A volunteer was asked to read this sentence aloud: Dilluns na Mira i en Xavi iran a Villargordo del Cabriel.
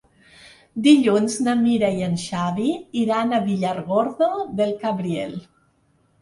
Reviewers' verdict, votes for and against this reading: rejected, 1, 2